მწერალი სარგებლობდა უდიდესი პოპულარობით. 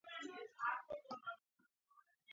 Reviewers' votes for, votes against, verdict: 1, 2, rejected